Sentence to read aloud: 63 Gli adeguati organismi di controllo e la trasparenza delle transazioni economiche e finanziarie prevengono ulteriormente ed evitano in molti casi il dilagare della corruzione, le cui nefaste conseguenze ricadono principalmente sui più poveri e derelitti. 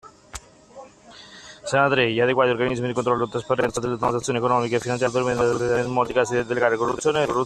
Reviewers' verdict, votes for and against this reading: rejected, 0, 2